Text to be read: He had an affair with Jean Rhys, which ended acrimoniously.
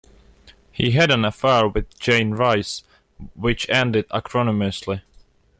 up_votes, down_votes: 0, 2